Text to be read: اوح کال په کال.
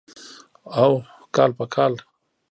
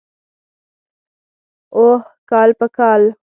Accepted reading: second